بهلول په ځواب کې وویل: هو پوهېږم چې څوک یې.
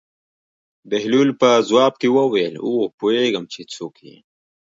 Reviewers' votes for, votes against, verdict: 1, 2, rejected